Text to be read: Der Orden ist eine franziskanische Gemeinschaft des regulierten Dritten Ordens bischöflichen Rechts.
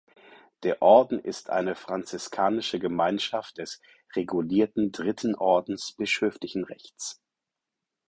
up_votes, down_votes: 4, 0